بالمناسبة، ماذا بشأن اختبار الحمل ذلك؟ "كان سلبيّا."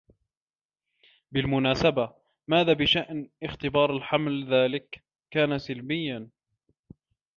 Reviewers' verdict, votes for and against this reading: rejected, 1, 2